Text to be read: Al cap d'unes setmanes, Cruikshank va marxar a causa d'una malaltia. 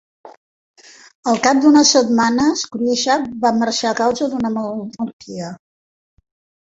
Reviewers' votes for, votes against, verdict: 0, 2, rejected